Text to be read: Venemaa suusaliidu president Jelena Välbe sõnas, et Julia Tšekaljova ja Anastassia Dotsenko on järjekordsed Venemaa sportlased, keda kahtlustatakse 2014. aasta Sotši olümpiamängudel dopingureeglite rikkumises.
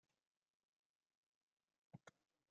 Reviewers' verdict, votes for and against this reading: rejected, 0, 2